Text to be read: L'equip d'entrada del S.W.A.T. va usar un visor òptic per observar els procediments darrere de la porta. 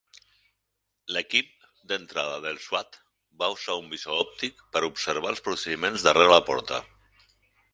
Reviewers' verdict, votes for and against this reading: rejected, 2, 4